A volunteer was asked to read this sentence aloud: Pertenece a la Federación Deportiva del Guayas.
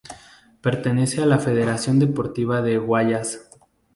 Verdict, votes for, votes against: rejected, 0, 2